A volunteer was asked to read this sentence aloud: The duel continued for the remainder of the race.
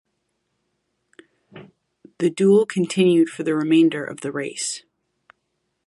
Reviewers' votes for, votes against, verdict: 2, 1, accepted